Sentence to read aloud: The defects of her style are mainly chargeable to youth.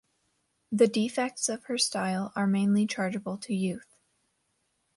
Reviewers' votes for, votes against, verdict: 2, 0, accepted